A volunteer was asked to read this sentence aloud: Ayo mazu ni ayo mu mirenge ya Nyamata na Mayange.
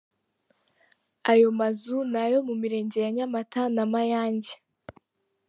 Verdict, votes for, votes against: accepted, 3, 1